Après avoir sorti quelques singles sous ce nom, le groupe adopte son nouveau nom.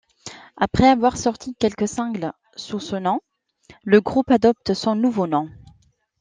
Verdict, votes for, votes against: accepted, 2, 1